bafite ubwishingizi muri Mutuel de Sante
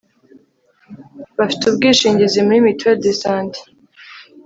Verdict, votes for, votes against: accepted, 2, 0